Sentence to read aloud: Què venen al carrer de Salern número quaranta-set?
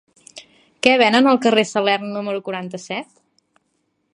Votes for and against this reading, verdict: 1, 2, rejected